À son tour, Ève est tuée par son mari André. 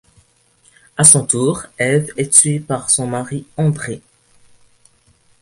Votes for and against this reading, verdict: 2, 0, accepted